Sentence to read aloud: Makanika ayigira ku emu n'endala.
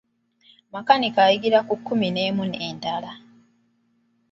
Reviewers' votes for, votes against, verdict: 0, 2, rejected